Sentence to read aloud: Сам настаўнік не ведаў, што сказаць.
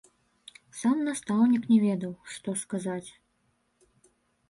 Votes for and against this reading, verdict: 1, 2, rejected